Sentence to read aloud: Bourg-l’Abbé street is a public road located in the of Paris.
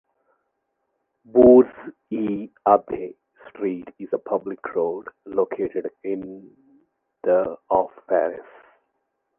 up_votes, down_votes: 2, 1